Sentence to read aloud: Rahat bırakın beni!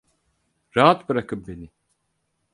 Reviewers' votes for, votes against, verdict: 4, 0, accepted